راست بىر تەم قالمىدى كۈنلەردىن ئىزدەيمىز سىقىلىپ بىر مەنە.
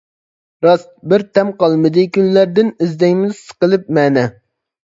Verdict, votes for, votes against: rejected, 0, 2